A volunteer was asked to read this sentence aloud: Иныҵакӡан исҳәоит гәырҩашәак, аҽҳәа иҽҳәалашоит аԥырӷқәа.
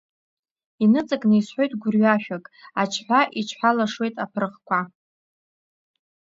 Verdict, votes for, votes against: rejected, 1, 2